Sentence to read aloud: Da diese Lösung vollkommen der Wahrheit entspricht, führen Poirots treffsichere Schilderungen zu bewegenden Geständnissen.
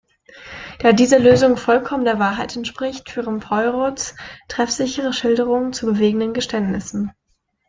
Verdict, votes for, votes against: rejected, 0, 2